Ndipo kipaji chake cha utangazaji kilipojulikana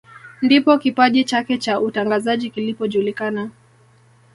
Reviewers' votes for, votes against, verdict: 2, 0, accepted